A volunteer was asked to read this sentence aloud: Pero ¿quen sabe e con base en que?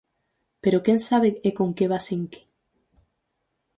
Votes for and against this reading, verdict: 2, 4, rejected